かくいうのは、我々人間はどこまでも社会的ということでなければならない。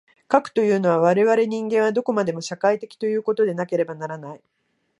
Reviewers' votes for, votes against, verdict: 1, 2, rejected